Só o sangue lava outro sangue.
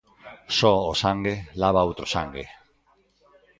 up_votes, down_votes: 1, 2